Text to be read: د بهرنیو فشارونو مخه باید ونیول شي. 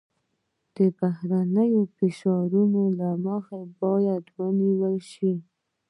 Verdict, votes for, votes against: rejected, 1, 2